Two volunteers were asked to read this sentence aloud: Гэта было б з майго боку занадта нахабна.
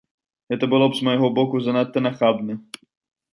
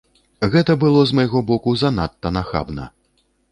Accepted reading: first